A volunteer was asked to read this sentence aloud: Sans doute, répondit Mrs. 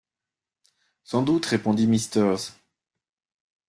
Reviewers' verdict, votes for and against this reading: rejected, 0, 2